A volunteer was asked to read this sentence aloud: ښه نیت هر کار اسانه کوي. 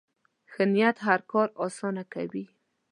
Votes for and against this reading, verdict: 2, 0, accepted